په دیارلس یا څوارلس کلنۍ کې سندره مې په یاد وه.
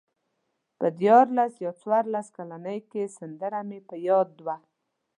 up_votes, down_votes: 2, 0